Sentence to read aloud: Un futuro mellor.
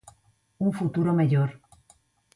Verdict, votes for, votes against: accepted, 23, 0